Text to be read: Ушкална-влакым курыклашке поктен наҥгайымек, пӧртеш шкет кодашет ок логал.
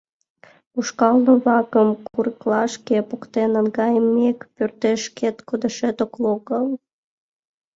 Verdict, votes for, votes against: rejected, 0, 2